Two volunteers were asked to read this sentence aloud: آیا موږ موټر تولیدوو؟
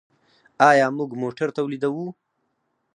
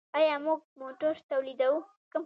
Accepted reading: first